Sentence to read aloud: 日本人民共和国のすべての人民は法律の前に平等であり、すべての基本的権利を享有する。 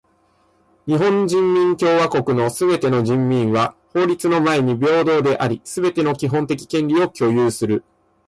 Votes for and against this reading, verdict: 2, 0, accepted